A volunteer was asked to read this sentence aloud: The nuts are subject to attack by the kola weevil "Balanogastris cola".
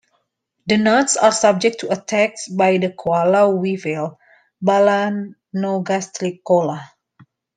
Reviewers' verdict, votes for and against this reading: rejected, 1, 2